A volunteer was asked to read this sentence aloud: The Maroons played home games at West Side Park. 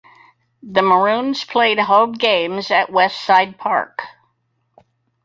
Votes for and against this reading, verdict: 4, 0, accepted